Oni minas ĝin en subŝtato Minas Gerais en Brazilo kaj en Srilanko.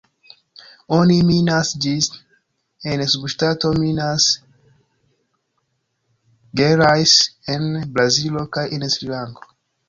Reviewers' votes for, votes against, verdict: 0, 2, rejected